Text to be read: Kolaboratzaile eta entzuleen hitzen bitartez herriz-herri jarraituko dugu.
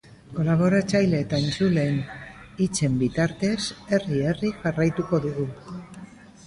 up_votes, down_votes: 0, 2